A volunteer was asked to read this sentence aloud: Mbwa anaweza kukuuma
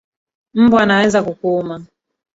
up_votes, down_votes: 1, 2